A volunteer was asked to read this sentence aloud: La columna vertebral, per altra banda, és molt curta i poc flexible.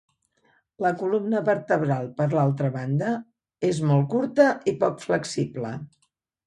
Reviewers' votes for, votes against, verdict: 1, 2, rejected